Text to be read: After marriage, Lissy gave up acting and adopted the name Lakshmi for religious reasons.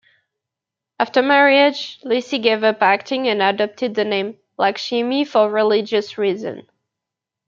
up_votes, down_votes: 0, 2